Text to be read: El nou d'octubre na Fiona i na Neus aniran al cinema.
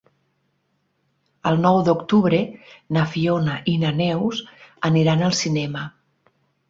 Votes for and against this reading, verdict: 6, 0, accepted